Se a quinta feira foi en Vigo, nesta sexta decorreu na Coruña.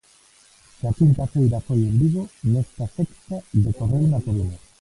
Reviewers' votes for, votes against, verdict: 1, 2, rejected